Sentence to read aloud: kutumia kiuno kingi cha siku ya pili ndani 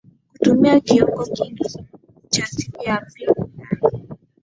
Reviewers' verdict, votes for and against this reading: rejected, 0, 2